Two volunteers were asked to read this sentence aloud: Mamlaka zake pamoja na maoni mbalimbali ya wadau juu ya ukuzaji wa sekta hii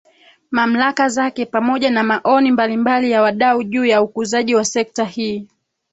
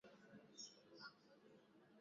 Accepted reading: first